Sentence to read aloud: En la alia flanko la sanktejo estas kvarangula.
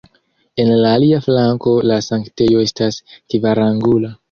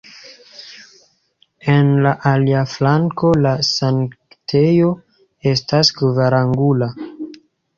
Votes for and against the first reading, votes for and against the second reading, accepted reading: 0, 2, 2, 0, second